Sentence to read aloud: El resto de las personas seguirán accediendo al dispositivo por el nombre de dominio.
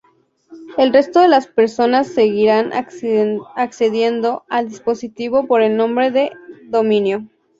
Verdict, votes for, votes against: rejected, 0, 2